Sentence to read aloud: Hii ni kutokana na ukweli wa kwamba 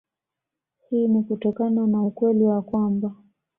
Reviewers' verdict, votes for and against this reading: accepted, 2, 0